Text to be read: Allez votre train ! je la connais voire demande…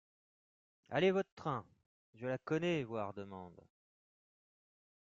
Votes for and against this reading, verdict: 2, 1, accepted